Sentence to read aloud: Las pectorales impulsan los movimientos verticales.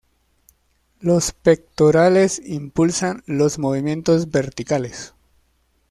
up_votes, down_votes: 2, 1